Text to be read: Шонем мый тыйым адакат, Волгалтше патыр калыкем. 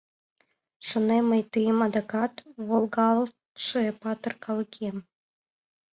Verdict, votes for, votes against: accepted, 2, 0